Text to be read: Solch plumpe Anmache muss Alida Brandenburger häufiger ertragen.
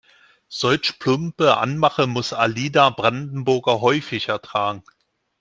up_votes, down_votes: 1, 2